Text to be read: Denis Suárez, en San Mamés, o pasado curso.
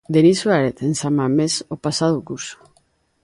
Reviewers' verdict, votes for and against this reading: accepted, 2, 0